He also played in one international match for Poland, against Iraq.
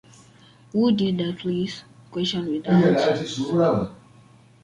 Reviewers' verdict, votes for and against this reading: rejected, 0, 2